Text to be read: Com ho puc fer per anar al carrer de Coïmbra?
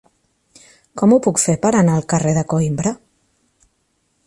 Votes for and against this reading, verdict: 3, 0, accepted